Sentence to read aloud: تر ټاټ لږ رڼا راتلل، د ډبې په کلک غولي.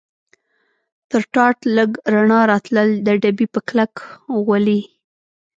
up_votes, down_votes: 1, 2